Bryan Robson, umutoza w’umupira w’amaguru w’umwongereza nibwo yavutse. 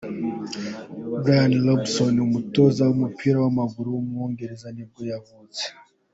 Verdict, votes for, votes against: accepted, 2, 0